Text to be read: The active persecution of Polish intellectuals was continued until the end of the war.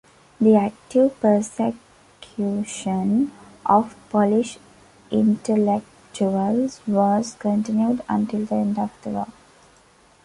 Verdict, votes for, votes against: accepted, 3, 0